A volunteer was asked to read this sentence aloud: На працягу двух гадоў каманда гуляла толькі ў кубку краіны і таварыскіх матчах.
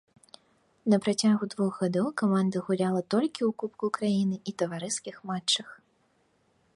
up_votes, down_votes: 2, 1